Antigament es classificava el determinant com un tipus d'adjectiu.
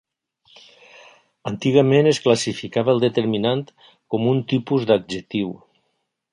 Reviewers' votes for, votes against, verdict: 3, 0, accepted